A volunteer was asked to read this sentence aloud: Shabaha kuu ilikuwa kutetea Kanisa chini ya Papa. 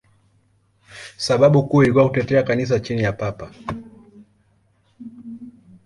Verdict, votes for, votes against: rejected, 5, 10